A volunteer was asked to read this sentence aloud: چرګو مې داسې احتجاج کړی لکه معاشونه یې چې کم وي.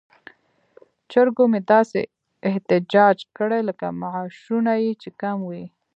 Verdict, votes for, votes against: accepted, 2, 1